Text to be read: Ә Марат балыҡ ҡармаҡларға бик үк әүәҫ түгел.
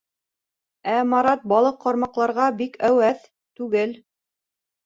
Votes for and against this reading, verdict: 0, 2, rejected